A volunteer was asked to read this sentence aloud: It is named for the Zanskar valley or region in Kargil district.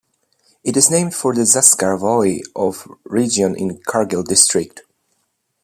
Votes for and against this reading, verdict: 2, 1, accepted